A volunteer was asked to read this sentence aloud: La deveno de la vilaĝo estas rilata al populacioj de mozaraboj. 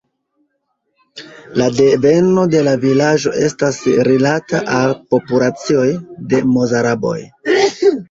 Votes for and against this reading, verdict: 1, 2, rejected